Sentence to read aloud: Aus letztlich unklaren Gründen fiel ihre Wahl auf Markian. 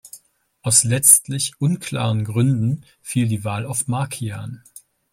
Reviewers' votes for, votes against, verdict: 0, 2, rejected